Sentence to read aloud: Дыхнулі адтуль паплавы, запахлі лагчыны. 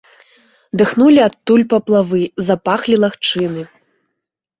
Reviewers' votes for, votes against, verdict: 2, 1, accepted